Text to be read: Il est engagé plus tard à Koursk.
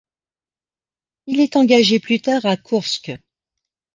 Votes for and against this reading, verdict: 2, 0, accepted